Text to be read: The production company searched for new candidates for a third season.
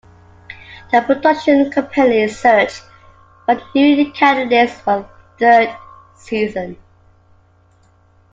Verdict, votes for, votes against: rejected, 0, 2